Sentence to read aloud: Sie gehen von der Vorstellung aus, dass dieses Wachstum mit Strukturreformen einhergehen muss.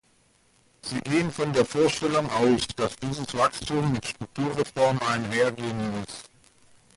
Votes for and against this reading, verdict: 2, 0, accepted